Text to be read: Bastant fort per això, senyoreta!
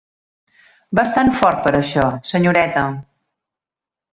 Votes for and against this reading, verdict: 3, 0, accepted